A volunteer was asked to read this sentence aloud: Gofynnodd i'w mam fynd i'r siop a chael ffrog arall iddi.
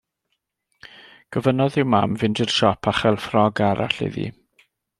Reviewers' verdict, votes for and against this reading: accepted, 2, 0